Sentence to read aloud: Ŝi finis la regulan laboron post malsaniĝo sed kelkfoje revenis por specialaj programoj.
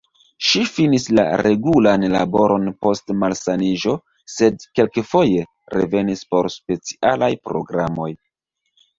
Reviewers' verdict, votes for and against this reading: accepted, 2, 0